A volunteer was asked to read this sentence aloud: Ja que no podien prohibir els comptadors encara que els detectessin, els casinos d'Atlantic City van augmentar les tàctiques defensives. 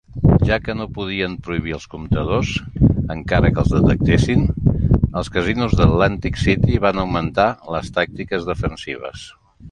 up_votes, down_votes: 2, 1